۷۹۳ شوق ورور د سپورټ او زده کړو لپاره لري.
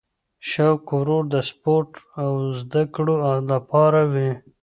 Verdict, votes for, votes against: rejected, 0, 2